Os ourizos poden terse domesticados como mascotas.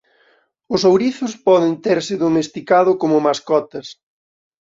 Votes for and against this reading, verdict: 1, 2, rejected